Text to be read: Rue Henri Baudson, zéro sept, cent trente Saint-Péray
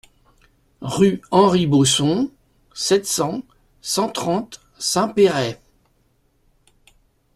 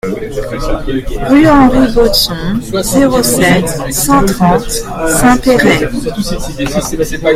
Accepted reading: second